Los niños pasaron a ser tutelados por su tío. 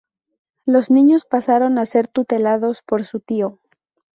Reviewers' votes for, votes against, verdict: 4, 0, accepted